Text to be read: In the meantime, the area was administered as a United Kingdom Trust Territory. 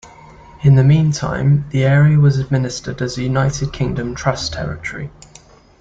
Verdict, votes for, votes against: accepted, 2, 0